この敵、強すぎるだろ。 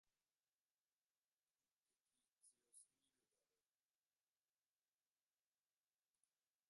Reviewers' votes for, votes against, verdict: 1, 2, rejected